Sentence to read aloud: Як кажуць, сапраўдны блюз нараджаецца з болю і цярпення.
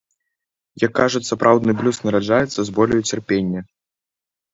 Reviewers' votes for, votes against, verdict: 2, 0, accepted